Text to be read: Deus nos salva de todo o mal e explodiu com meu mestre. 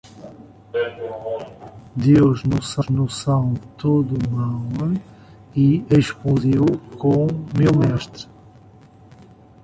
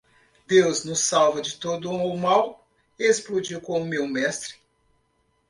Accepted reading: second